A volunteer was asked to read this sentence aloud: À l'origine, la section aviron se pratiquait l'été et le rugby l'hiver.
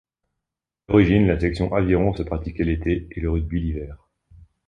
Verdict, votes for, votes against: rejected, 1, 2